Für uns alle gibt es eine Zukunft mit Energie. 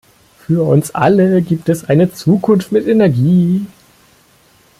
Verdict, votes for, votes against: rejected, 1, 2